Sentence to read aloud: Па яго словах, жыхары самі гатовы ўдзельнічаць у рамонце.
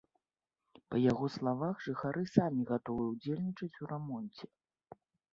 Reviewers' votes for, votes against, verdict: 1, 2, rejected